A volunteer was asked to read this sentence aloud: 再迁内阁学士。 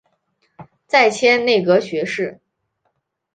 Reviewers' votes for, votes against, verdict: 4, 0, accepted